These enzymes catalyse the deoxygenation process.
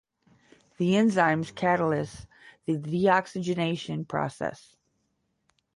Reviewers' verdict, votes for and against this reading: rejected, 0, 10